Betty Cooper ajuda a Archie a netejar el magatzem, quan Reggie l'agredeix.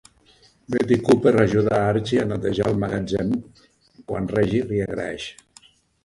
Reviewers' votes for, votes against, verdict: 0, 2, rejected